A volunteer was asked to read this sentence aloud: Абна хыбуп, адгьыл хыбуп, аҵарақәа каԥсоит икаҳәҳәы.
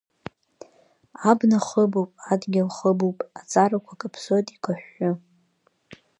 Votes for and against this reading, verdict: 2, 0, accepted